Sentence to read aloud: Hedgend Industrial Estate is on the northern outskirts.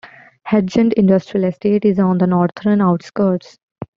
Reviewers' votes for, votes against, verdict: 2, 0, accepted